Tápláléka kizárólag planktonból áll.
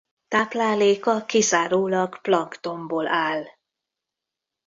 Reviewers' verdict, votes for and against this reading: rejected, 1, 3